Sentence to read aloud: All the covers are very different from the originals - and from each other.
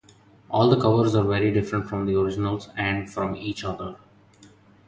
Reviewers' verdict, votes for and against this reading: accepted, 2, 0